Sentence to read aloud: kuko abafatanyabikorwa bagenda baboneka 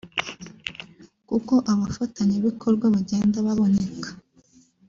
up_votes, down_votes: 3, 0